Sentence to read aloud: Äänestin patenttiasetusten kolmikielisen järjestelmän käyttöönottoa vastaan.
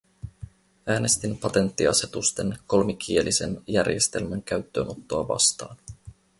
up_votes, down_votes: 2, 2